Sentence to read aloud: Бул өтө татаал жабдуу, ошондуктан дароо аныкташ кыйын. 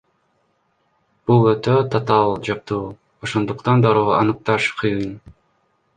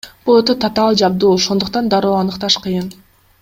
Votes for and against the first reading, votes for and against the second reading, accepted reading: 1, 2, 2, 0, second